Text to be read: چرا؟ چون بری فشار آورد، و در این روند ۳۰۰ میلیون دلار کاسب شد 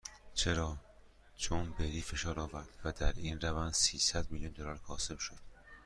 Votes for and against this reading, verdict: 0, 2, rejected